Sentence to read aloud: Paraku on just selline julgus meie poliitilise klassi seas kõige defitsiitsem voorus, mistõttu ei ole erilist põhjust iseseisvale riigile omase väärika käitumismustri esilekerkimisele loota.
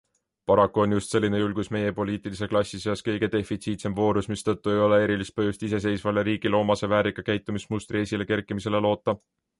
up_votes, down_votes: 2, 0